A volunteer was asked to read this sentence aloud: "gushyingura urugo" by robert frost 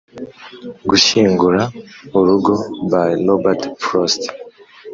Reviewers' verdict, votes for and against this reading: accepted, 2, 0